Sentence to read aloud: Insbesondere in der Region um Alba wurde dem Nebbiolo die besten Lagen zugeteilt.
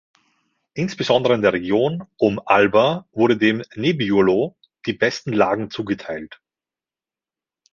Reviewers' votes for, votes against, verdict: 2, 0, accepted